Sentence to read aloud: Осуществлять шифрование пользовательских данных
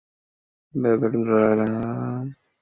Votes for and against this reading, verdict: 0, 2, rejected